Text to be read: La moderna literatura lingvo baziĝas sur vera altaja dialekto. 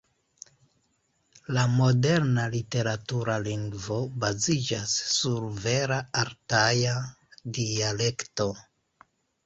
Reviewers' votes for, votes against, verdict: 2, 1, accepted